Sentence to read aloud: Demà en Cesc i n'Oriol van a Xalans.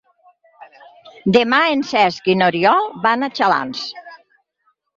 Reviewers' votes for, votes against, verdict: 6, 0, accepted